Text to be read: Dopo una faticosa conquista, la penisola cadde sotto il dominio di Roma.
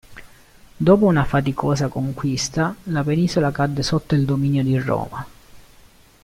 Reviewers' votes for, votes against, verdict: 2, 0, accepted